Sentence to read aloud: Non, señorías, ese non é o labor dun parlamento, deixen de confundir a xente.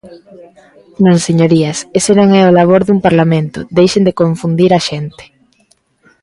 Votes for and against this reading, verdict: 2, 0, accepted